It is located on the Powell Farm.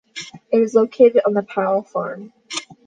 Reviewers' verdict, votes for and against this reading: accepted, 2, 0